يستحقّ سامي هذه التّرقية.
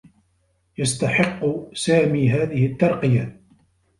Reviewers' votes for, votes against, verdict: 2, 1, accepted